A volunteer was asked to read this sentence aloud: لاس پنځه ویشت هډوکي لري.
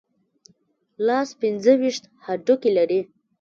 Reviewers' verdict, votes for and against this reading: accepted, 2, 1